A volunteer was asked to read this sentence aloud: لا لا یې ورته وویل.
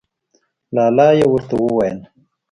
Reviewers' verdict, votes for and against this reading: accepted, 2, 0